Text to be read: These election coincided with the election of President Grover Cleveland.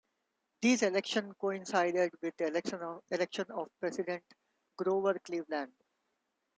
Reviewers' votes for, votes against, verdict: 0, 2, rejected